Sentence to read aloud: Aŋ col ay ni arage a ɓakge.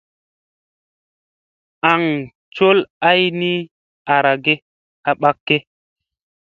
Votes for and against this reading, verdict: 2, 0, accepted